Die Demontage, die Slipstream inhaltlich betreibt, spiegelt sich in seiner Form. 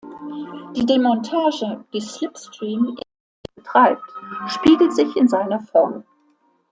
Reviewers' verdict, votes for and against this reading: rejected, 0, 2